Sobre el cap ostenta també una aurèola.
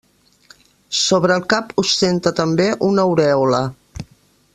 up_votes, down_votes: 2, 0